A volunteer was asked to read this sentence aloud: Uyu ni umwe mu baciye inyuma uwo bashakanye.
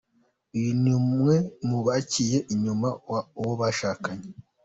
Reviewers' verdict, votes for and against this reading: accepted, 2, 1